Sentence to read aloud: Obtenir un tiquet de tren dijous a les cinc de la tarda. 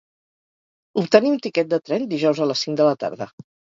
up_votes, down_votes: 2, 2